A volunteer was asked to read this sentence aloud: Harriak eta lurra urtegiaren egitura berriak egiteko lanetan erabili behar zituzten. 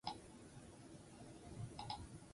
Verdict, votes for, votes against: rejected, 0, 2